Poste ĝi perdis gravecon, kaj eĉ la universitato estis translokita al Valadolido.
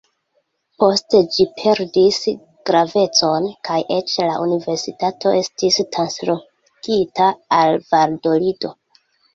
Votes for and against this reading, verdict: 2, 1, accepted